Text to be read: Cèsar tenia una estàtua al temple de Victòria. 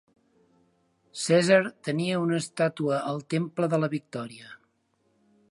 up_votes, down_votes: 0, 2